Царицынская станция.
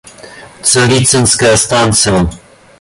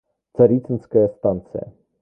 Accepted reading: first